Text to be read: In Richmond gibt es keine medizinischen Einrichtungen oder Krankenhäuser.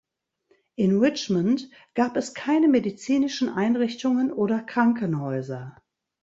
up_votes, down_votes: 0, 2